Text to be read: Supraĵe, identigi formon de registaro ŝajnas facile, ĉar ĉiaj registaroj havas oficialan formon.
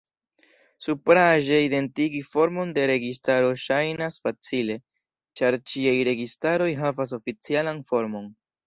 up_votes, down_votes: 2, 0